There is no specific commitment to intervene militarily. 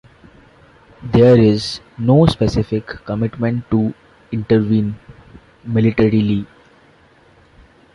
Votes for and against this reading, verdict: 0, 2, rejected